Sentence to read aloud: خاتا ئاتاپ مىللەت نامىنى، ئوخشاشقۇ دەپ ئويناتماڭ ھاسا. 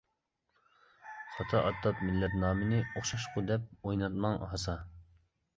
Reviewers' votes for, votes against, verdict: 2, 0, accepted